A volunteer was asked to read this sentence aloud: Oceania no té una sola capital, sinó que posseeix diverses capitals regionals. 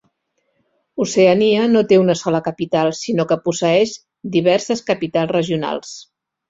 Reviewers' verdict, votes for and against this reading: accepted, 3, 0